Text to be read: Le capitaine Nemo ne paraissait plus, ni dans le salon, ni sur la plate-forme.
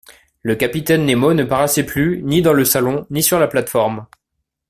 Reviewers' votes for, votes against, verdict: 2, 0, accepted